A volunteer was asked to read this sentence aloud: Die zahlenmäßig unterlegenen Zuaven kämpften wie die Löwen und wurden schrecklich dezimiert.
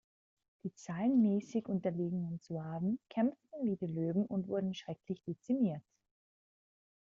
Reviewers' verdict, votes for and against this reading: accepted, 2, 0